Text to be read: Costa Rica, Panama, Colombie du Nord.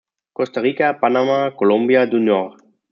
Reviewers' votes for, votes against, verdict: 1, 2, rejected